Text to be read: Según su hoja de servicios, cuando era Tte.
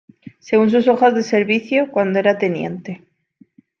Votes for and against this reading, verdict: 2, 0, accepted